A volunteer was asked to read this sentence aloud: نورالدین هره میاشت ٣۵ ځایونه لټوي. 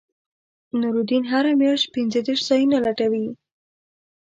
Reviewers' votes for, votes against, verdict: 0, 2, rejected